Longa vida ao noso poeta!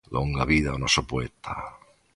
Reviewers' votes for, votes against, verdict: 3, 0, accepted